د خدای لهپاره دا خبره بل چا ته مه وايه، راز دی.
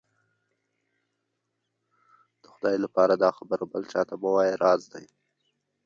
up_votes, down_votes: 0, 2